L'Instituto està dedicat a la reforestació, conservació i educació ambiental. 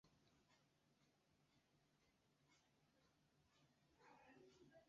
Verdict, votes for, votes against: rejected, 0, 2